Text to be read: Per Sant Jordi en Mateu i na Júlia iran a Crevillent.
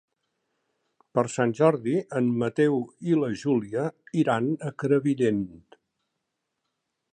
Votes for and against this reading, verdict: 0, 2, rejected